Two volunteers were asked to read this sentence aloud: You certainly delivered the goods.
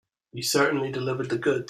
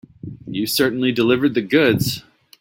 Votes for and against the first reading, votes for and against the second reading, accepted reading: 0, 2, 2, 0, second